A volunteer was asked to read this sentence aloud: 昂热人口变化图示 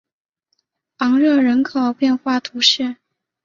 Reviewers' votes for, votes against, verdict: 6, 0, accepted